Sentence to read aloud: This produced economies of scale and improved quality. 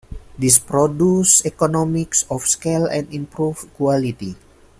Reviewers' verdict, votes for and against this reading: rejected, 0, 2